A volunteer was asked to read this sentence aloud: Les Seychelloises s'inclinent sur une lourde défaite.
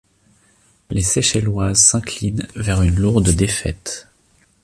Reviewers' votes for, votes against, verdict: 1, 2, rejected